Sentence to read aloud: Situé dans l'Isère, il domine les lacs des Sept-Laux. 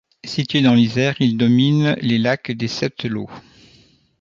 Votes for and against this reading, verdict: 2, 0, accepted